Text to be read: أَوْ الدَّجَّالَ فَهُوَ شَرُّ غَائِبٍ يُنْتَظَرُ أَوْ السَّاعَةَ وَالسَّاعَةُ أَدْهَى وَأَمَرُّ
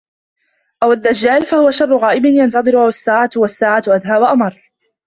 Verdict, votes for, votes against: rejected, 1, 2